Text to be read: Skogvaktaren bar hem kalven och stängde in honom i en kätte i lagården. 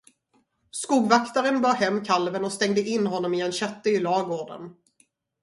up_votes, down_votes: 2, 2